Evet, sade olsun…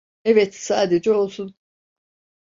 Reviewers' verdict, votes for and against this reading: rejected, 0, 2